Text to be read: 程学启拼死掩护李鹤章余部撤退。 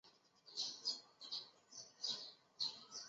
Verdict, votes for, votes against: rejected, 0, 4